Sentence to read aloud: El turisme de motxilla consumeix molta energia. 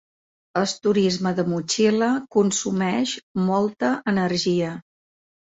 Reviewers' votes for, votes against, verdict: 0, 2, rejected